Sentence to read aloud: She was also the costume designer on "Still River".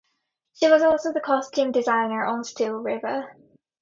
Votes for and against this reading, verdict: 2, 0, accepted